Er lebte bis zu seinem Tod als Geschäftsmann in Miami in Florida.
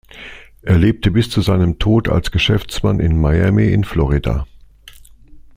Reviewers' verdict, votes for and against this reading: accepted, 2, 0